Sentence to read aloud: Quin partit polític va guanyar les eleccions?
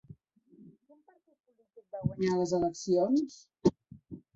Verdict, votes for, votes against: rejected, 0, 2